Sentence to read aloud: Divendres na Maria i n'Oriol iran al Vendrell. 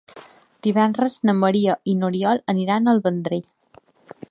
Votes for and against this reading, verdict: 2, 0, accepted